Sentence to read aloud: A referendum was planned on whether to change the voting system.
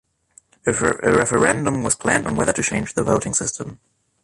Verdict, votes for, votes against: accepted, 2, 1